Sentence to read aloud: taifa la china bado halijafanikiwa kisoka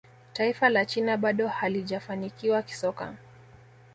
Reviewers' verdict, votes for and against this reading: accepted, 2, 0